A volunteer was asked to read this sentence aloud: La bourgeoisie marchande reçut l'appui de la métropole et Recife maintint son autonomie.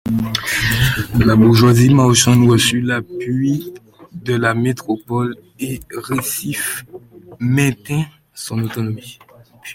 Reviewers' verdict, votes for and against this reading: rejected, 1, 2